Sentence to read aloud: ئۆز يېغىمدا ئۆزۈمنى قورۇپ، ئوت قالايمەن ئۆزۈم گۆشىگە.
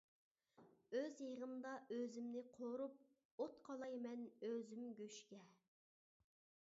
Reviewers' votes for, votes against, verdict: 0, 2, rejected